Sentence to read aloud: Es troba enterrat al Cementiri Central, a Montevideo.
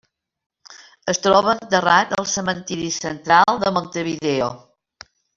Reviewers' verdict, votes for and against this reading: accepted, 2, 0